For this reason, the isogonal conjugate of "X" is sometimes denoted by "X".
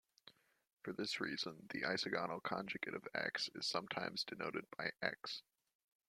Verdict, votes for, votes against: accepted, 2, 0